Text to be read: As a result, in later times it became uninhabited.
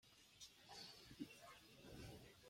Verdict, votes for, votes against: rejected, 0, 2